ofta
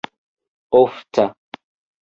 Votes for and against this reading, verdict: 3, 2, accepted